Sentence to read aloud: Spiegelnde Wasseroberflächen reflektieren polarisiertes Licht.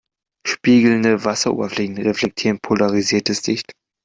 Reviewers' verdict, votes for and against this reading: accepted, 2, 0